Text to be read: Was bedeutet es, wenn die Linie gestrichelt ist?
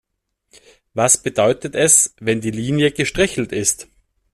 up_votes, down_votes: 2, 0